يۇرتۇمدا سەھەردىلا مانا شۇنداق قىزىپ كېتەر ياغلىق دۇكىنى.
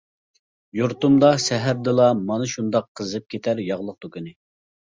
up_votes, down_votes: 2, 0